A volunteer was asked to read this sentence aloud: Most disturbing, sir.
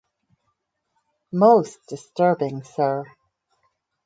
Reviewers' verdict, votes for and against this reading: accepted, 4, 0